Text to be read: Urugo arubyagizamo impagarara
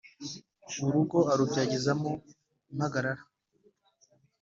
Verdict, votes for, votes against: accepted, 2, 0